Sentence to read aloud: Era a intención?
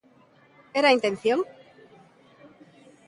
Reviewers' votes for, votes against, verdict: 2, 0, accepted